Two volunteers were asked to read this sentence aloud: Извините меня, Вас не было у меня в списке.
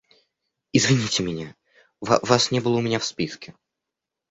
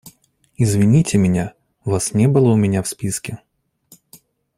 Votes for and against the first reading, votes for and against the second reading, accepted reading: 1, 2, 2, 0, second